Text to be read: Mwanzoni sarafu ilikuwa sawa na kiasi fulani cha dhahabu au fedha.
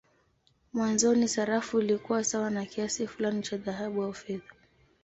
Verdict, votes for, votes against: accepted, 2, 0